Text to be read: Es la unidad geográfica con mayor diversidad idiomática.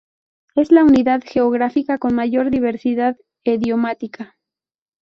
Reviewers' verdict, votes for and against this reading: rejected, 0, 2